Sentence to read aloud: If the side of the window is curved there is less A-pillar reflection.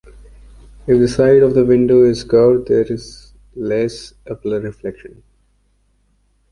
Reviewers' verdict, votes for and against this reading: rejected, 1, 2